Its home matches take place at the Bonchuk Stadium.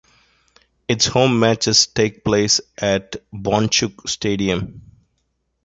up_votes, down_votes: 1, 2